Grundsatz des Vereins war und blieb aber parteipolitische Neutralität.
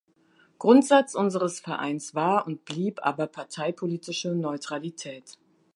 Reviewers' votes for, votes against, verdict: 0, 2, rejected